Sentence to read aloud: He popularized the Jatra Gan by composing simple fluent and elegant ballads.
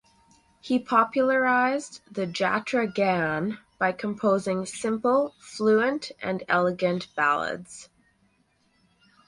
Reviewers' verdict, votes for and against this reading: accepted, 4, 0